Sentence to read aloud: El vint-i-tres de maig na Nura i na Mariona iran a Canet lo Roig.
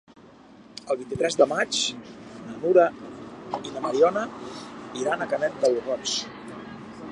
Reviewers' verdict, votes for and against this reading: rejected, 0, 2